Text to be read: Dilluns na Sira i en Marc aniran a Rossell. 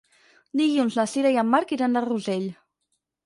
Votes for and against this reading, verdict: 2, 4, rejected